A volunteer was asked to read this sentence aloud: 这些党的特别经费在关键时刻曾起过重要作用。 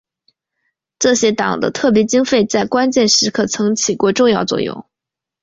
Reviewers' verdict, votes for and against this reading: accepted, 2, 0